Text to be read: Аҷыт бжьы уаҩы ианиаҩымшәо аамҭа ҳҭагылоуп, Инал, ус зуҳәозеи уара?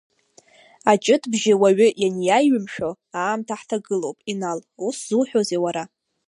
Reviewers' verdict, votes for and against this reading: rejected, 0, 2